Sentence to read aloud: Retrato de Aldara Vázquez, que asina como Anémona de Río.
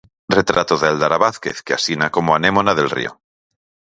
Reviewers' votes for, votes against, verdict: 0, 4, rejected